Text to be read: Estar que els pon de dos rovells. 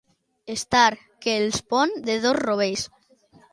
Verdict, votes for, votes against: accepted, 2, 0